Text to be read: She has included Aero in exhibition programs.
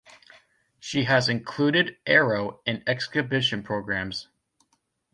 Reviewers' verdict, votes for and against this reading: rejected, 0, 2